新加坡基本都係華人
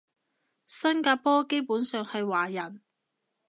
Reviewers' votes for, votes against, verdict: 0, 2, rejected